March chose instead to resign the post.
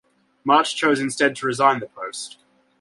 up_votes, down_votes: 2, 0